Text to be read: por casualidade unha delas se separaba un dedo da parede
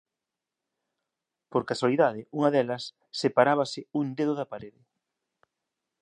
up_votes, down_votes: 1, 2